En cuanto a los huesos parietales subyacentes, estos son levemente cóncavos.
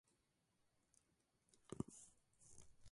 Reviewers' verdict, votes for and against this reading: rejected, 0, 2